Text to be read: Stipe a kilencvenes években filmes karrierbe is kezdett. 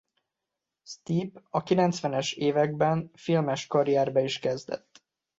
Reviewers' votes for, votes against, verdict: 2, 0, accepted